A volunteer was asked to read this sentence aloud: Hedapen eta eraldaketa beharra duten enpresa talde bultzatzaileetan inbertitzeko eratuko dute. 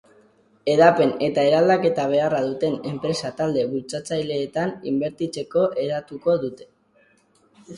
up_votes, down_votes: 6, 0